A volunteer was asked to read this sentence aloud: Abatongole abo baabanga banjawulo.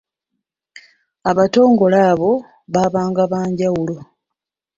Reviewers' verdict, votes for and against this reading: accepted, 2, 0